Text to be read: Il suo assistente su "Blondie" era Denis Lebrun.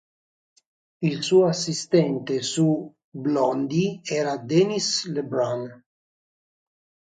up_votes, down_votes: 3, 0